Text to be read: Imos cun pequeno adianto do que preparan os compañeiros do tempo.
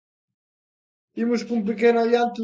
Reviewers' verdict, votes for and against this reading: rejected, 0, 2